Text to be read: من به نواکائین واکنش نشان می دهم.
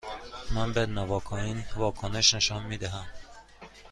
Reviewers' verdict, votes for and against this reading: accepted, 2, 0